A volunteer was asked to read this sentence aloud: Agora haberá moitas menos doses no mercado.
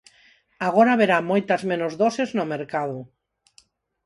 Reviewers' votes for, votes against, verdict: 4, 0, accepted